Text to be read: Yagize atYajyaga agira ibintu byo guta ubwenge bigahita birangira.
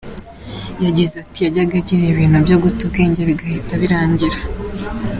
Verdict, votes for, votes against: rejected, 1, 2